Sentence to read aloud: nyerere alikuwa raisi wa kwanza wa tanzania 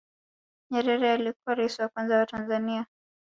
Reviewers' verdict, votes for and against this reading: rejected, 0, 2